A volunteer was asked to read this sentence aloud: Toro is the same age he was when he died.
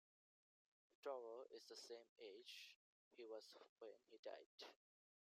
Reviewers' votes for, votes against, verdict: 2, 0, accepted